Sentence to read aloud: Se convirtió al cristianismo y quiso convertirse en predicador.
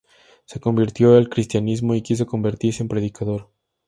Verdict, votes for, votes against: accepted, 2, 0